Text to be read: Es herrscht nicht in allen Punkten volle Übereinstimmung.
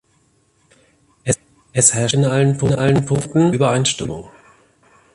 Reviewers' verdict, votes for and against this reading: rejected, 0, 2